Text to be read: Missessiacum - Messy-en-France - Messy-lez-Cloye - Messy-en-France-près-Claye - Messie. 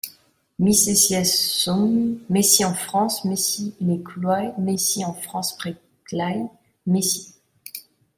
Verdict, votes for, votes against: rejected, 1, 2